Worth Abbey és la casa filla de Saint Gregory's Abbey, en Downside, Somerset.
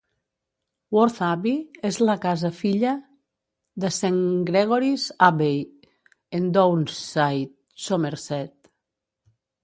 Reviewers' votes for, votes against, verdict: 1, 2, rejected